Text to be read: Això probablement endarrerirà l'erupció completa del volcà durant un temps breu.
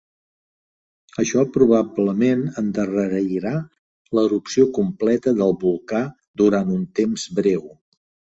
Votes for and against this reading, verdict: 0, 2, rejected